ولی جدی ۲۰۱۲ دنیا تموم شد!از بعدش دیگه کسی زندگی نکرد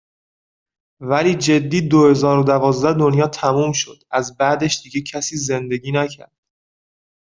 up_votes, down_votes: 0, 2